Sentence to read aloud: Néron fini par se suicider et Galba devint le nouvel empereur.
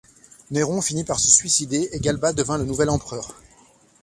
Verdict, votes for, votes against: accepted, 2, 0